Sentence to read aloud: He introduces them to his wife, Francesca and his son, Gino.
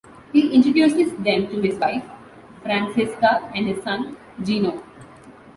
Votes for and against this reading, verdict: 2, 0, accepted